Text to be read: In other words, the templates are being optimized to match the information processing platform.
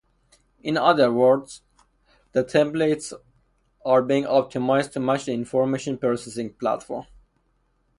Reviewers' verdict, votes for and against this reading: rejected, 0, 2